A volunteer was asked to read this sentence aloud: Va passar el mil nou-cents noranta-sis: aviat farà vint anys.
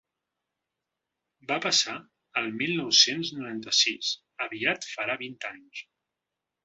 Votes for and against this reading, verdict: 2, 0, accepted